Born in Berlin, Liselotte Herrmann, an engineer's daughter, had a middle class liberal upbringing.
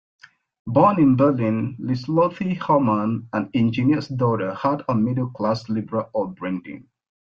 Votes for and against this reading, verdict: 0, 2, rejected